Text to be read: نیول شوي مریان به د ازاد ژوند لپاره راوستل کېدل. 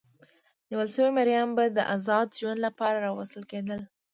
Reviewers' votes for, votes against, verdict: 2, 0, accepted